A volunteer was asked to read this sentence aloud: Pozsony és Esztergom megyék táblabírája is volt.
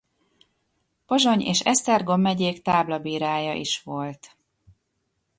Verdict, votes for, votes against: accepted, 2, 0